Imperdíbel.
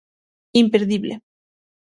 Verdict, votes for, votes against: rejected, 3, 6